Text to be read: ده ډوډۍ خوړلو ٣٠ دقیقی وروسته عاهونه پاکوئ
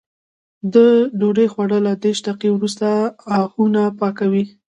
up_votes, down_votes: 0, 2